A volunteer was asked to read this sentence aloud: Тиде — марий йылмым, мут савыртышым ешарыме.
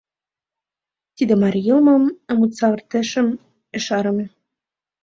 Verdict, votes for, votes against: rejected, 1, 2